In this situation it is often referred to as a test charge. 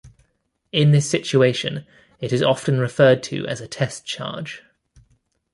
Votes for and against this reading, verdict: 2, 0, accepted